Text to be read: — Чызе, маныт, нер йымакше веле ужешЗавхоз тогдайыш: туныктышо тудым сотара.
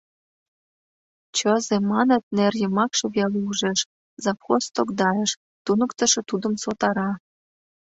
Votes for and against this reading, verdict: 5, 2, accepted